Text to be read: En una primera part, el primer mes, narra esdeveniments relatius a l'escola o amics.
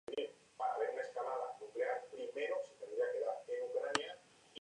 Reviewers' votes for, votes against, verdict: 0, 2, rejected